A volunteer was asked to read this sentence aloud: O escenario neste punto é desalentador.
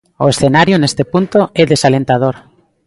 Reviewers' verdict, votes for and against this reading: accepted, 2, 0